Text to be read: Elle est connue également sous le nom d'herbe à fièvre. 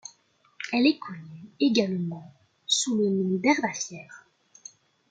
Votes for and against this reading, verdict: 1, 2, rejected